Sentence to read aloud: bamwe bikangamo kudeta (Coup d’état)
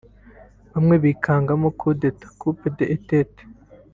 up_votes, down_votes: 0, 2